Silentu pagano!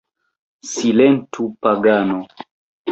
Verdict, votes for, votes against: accepted, 3, 1